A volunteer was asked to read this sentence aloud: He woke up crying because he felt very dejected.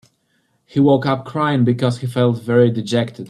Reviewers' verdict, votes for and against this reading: accepted, 2, 0